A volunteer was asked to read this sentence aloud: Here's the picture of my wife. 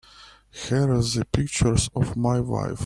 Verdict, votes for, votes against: rejected, 0, 2